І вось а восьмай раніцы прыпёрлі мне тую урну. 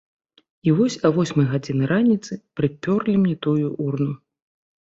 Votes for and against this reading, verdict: 2, 1, accepted